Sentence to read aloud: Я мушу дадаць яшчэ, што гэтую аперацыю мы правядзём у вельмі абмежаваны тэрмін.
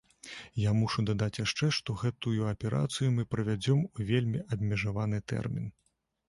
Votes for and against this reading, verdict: 2, 0, accepted